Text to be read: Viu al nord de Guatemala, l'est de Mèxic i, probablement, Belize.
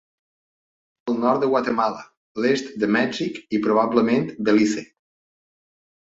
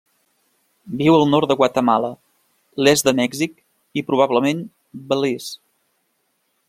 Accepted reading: second